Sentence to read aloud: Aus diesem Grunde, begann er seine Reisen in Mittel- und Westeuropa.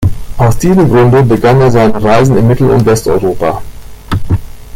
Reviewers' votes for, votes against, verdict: 1, 2, rejected